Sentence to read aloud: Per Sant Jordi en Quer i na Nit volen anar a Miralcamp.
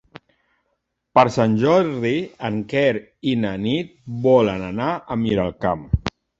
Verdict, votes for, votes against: accepted, 3, 1